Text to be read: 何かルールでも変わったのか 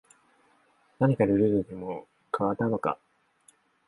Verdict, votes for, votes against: rejected, 0, 2